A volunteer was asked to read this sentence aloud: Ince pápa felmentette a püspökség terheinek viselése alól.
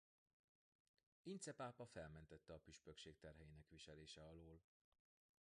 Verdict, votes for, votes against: accepted, 2, 0